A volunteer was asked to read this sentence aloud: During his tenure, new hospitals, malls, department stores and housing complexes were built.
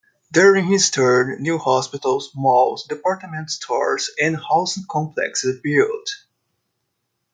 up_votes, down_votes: 0, 2